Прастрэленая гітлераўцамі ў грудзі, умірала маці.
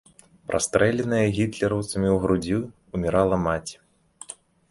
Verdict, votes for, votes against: rejected, 0, 2